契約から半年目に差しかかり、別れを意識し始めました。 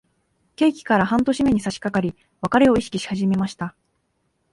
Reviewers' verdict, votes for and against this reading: rejected, 0, 2